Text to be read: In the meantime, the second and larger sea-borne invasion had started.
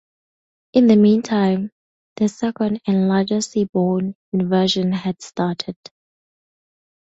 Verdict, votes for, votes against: accepted, 4, 0